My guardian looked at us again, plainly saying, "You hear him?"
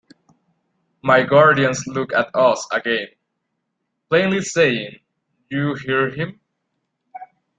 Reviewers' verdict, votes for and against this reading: rejected, 1, 2